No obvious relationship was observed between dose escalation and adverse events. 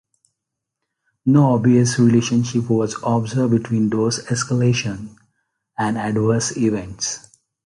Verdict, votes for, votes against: accepted, 2, 0